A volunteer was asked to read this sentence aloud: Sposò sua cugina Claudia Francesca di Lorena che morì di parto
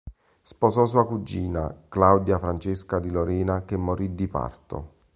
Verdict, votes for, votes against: rejected, 1, 2